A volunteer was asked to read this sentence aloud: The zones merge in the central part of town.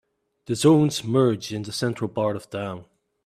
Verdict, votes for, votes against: accepted, 2, 0